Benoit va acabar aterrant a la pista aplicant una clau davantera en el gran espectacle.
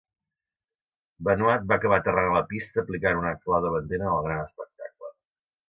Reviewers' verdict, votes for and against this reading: rejected, 1, 2